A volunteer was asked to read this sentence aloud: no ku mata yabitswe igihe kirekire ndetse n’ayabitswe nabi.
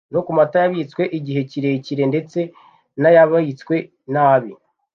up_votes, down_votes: 2, 0